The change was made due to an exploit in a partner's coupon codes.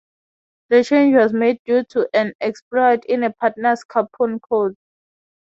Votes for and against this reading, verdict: 3, 3, rejected